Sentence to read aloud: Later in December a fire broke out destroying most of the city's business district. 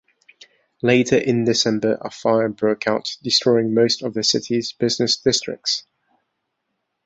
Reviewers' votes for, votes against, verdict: 1, 2, rejected